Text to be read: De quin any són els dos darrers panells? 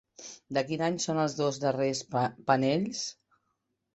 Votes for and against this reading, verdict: 0, 2, rejected